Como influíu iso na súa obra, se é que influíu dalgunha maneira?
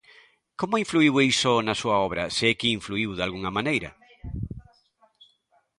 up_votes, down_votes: 1, 2